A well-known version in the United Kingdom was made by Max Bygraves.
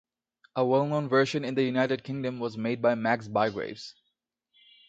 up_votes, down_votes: 2, 0